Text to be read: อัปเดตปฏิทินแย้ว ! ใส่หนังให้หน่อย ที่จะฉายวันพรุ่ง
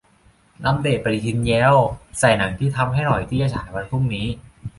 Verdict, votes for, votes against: rejected, 0, 2